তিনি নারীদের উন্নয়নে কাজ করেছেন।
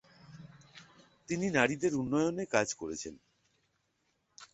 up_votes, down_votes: 6, 0